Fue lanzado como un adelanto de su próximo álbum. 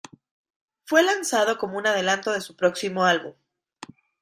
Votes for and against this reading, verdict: 2, 0, accepted